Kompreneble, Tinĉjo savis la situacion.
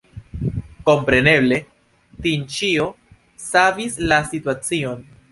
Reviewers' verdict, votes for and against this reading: accepted, 2, 0